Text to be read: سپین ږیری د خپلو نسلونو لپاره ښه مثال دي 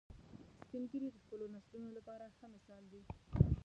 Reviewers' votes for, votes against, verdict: 1, 2, rejected